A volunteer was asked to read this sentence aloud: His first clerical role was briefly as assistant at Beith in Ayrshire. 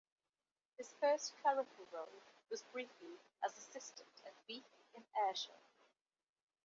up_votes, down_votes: 2, 1